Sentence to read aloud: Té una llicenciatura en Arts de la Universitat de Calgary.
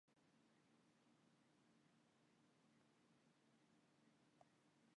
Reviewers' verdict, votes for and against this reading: rejected, 0, 2